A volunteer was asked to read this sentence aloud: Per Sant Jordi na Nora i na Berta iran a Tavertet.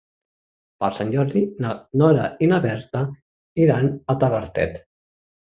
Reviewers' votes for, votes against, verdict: 3, 0, accepted